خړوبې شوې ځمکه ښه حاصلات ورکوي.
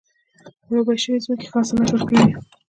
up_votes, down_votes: 2, 0